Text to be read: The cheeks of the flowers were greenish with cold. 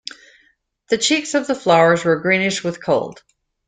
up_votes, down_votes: 2, 0